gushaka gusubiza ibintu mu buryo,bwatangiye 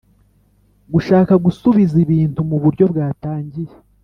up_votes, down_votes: 2, 0